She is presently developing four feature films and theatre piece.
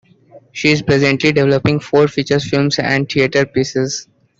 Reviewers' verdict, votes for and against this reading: rejected, 1, 2